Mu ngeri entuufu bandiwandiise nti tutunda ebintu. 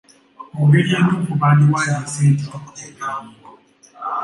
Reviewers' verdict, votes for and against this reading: accepted, 2, 1